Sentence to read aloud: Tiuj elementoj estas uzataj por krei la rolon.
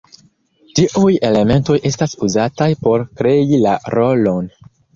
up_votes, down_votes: 2, 0